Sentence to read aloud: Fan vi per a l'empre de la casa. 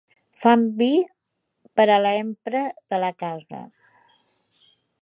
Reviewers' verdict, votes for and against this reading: rejected, 1, 2